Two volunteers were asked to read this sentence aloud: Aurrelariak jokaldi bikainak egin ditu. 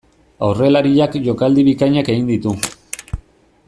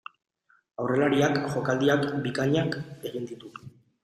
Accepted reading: first